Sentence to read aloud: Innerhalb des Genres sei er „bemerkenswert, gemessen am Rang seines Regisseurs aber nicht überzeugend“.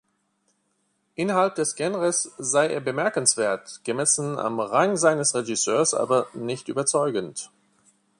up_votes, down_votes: 2, 3